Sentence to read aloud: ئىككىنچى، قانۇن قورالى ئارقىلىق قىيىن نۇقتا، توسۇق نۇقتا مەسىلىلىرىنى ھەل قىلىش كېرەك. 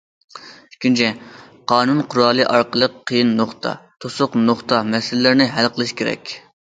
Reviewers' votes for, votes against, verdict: 2, 1, accepted